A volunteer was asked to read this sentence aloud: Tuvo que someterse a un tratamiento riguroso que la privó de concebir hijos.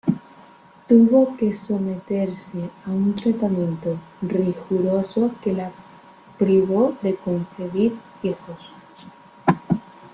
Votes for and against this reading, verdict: 1, 2, rejected